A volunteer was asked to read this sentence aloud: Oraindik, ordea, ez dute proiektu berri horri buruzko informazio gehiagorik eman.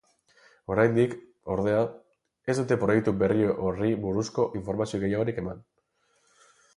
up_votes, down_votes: 2, 2